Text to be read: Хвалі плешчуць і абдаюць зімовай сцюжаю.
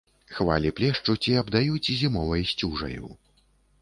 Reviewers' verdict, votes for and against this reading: accepted, 2, 0